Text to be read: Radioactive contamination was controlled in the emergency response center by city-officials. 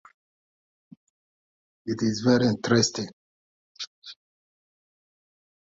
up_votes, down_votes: 0, 2